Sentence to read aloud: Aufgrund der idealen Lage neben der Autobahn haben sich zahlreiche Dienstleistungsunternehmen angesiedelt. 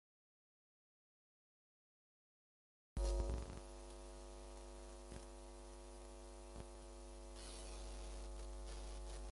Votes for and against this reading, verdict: 0, 2, rejected